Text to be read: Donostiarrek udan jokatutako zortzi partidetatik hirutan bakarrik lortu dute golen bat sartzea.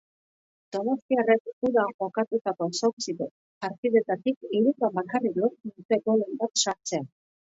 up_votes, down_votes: 0, 2